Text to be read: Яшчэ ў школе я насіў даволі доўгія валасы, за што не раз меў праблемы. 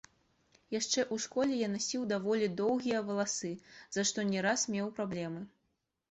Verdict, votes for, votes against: rejected, 1, 2